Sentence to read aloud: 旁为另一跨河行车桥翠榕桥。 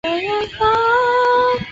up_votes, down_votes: 0, 3